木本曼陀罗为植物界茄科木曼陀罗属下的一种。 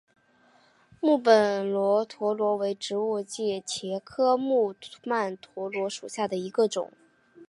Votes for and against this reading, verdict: 5, 0, accepted